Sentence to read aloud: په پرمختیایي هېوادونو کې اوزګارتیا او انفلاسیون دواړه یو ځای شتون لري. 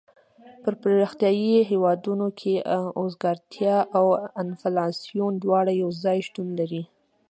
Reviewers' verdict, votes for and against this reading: rejected, 0, 2